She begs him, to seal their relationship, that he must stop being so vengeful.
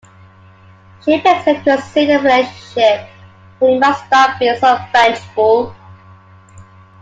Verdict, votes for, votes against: accepted, 2, 0